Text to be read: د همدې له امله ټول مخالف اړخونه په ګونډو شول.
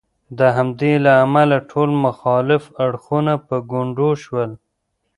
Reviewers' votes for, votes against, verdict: 1, 2, rejected